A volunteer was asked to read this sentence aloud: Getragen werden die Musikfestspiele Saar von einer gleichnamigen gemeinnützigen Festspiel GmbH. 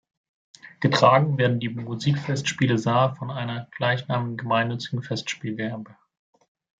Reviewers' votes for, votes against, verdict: 0, 2, rejected